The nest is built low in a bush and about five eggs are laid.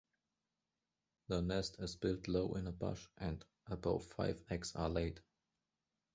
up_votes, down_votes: 2, 0